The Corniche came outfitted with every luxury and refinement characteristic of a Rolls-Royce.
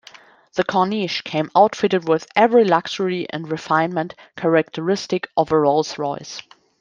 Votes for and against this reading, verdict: 2, 0, accepted